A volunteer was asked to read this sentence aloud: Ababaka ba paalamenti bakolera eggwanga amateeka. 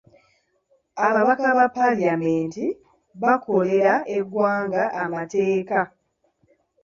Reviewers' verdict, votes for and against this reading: accepted, 2, 0